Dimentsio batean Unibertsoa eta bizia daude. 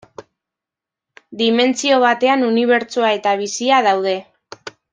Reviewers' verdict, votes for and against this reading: accepted, 2, 0